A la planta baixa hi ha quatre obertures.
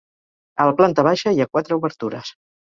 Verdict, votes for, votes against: accepted, 4, 0